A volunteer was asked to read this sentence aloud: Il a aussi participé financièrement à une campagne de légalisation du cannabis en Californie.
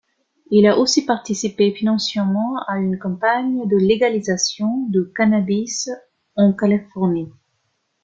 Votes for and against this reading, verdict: 2, 1, accepted